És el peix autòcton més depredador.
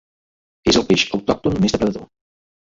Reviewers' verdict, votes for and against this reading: rejected, 1, 2